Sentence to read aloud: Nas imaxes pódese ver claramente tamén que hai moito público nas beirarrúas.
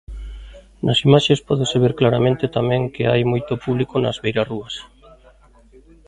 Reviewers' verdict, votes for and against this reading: accepted, 2, 1